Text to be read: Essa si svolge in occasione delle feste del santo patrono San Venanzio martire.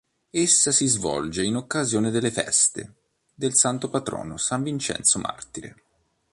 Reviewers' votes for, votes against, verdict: 1, 2, rejected